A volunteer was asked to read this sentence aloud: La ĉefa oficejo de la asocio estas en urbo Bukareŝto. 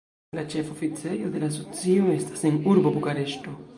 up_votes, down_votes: 2, 1